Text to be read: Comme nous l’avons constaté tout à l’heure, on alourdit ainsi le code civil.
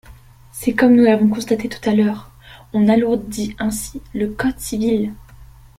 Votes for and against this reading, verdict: 2, 1, accepted